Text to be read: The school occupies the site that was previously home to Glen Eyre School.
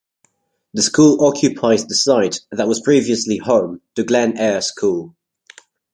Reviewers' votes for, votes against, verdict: 2, 0, accepted